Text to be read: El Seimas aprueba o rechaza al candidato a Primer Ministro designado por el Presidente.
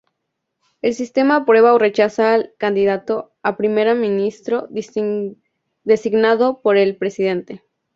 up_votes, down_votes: 2, 4